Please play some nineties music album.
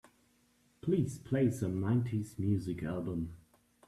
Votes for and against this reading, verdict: 2, 0, accepted